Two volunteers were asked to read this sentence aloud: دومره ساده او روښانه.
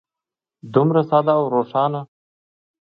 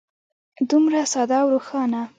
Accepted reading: first